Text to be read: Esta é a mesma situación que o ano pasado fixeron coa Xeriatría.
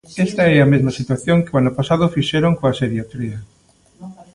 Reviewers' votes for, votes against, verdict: 1, 2, rejected